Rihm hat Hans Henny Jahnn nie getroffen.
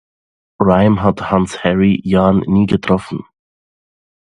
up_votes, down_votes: 1, 2